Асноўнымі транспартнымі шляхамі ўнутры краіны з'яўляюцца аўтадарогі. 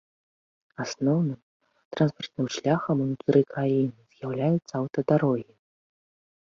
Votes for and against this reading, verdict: 1, 2, rejected